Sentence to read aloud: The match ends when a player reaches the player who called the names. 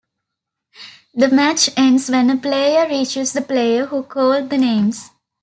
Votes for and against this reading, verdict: 1, 2, rejected